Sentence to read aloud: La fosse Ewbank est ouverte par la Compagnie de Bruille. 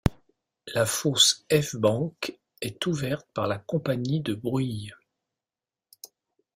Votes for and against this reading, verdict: 0, 2, rejected